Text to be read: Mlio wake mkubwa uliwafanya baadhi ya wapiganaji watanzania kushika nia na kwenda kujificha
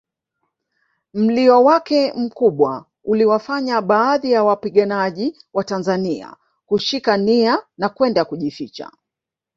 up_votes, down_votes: 3, 0